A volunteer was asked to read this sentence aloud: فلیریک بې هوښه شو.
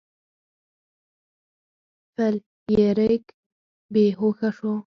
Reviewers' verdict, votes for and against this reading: accepted, 4, 2